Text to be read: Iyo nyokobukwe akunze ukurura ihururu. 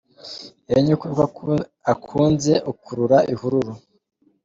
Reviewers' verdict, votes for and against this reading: accepted, 2, 0